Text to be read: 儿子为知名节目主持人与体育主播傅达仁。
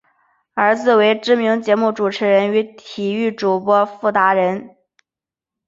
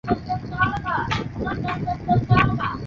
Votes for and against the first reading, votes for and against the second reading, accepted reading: 8, 2, 2, 6, first